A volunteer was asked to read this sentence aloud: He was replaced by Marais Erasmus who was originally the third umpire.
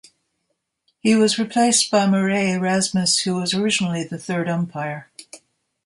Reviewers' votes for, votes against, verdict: 2, 0, accepted